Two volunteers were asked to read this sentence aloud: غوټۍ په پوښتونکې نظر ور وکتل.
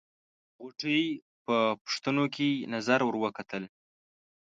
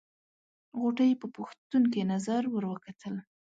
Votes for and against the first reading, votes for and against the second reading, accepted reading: 1, 2, 2, 0, second